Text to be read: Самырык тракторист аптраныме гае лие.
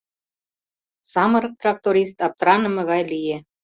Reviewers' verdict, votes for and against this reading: accepted, 2, 0